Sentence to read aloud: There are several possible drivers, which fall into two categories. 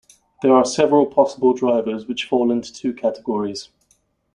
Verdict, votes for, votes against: accepted, 2, 0